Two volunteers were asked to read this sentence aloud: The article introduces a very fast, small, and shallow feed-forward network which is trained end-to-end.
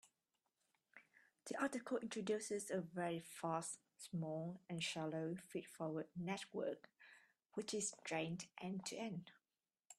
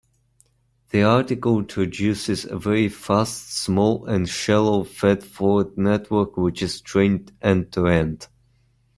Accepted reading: first